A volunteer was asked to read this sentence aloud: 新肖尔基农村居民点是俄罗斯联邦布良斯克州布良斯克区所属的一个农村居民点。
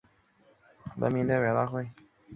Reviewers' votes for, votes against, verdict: 0, 3, rejected